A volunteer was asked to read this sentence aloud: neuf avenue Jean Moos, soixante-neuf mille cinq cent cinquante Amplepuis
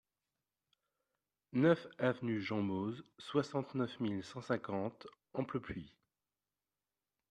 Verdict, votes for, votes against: rejected, 1, 2